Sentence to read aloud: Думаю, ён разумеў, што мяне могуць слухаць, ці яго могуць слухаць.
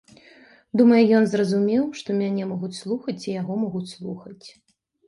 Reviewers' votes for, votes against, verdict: 0, 2, rejected